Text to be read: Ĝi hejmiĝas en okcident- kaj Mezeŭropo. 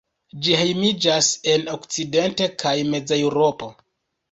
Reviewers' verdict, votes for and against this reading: rejected, 1, 2